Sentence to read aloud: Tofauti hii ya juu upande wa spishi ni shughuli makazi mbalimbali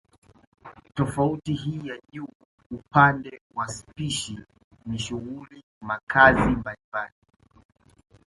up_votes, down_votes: 2, 0